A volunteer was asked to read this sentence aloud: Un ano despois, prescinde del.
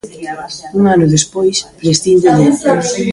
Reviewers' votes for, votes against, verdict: 0, 2, rejected